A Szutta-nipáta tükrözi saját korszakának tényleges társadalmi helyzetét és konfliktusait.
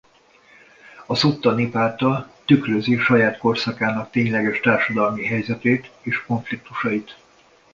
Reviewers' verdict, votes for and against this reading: accepted, 2, 0